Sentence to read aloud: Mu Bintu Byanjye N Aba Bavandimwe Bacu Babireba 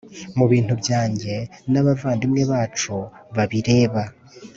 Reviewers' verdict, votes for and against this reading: accepted, 4, 0